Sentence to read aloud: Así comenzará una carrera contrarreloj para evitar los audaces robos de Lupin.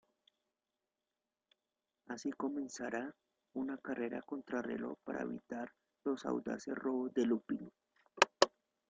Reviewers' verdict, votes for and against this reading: rejected, 0, 2